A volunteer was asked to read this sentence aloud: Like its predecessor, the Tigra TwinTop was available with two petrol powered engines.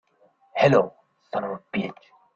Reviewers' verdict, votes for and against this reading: rejected, 0, 2